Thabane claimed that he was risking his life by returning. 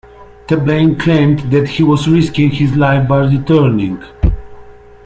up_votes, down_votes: 2, 0